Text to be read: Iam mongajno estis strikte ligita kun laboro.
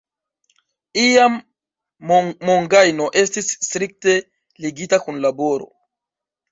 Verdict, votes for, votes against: rejected, 0, 2